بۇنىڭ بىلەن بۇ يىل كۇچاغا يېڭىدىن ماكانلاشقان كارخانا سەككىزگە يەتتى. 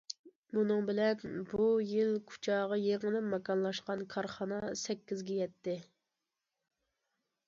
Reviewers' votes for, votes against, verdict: 2, 0, accepted